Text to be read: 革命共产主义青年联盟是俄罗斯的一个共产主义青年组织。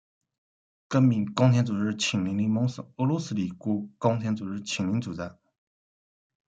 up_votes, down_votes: 2, 1